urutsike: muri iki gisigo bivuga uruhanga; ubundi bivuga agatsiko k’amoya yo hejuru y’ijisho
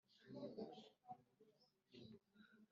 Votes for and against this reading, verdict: 1, 3, rejected